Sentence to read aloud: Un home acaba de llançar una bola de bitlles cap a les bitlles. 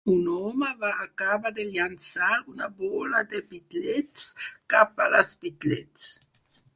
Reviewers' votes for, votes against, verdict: 2, 4, rejected